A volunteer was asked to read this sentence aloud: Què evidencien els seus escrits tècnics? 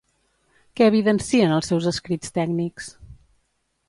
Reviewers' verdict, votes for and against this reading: accepted, 2, 0